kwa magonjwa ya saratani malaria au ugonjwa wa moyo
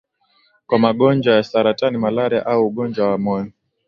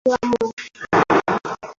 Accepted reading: first